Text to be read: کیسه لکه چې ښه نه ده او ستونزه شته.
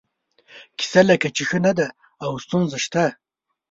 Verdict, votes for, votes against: accepted, 2, 0